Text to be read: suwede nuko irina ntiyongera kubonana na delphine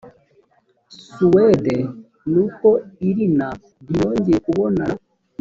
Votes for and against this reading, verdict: 1, 2, rejected